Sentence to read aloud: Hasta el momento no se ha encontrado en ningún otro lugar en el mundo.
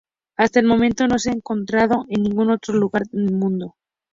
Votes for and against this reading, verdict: 2, 0, accepted